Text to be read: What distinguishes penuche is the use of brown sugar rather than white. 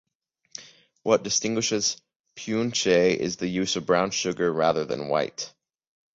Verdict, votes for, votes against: rejected, 1, 2